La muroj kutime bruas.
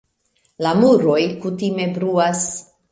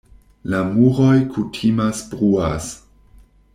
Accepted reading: first